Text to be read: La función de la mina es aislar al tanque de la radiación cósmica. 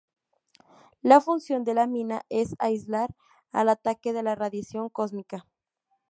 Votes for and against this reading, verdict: 0, 2, rejected